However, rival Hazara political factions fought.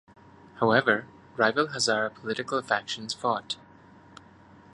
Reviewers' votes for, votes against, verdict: 2, 0, accepted